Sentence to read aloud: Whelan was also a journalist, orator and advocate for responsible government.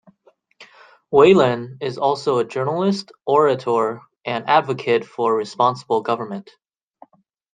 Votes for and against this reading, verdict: 0, 2, rejected